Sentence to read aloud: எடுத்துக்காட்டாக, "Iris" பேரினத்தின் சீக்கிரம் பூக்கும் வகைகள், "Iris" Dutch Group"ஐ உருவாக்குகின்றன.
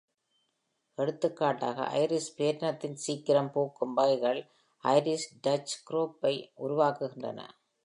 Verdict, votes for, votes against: accepted, 2, 0